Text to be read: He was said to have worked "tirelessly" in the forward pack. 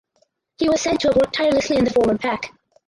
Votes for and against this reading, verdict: 4, 2, accepted